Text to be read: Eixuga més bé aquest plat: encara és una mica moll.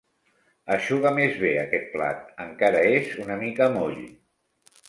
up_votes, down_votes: 2, 0